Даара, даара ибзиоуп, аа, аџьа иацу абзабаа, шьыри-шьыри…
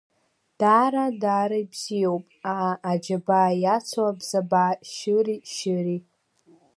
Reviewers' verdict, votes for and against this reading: accepted, 2, 1